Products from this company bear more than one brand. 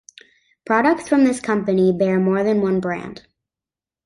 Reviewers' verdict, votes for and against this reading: accepted, 2, 0